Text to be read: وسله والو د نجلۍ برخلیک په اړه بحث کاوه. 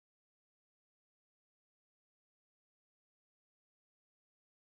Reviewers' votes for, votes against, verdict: 6, 0, accepted